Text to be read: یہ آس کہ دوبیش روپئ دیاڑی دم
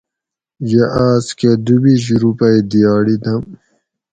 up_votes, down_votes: 4, 0